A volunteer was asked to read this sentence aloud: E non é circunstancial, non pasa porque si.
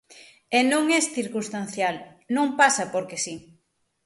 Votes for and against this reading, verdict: 0, 6, rejected